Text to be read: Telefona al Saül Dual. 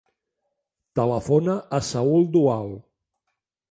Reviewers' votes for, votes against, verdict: 0, 2, rejected